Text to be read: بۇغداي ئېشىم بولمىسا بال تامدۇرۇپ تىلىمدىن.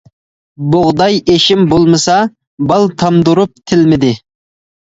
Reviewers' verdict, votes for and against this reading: rejected, 0, 2